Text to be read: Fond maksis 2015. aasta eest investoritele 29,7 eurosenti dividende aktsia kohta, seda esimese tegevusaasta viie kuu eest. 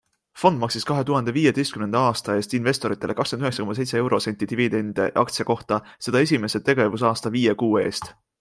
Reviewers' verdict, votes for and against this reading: rejected, 0, 2